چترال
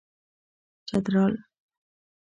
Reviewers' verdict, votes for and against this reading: accepted, 2, 0